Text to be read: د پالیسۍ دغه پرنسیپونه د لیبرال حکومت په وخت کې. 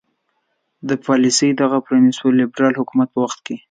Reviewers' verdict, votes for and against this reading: accepted, 2, 0